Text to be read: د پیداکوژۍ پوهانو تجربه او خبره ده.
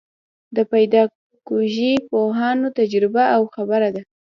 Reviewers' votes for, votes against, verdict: 1, 2, rejected